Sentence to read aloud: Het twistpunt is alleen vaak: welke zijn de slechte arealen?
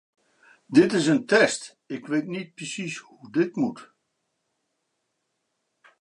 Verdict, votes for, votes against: rejected, 0, 2